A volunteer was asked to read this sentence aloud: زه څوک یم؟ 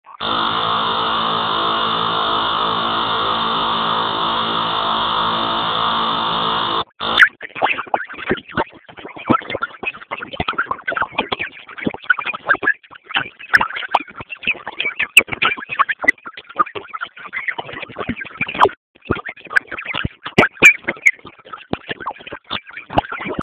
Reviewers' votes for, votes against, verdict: 0, 2, rejected